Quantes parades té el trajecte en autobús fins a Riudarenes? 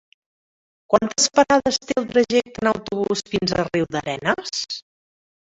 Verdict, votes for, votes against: rejected, 0, 2